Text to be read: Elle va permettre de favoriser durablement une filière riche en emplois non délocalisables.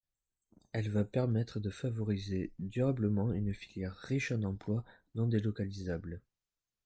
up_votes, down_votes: 2, 0